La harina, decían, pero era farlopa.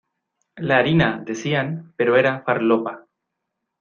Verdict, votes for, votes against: accepted, 2, 0